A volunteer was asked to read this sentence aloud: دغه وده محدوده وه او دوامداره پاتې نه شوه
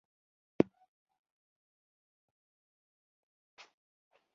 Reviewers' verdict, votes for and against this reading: accepted, 2, 0